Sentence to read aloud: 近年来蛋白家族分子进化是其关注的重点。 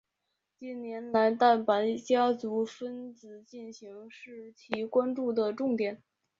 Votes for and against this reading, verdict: 0, 2, rejected